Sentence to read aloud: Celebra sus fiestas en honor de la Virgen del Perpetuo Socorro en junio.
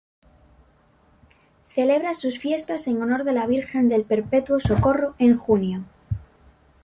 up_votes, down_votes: 2, 0